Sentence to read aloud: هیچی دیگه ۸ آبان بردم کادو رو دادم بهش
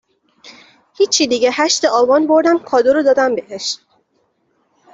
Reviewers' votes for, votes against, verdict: 0, 2, rejected